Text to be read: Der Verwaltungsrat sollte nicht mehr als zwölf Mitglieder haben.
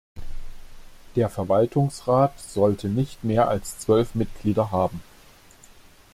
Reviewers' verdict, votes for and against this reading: accepted, 2, 0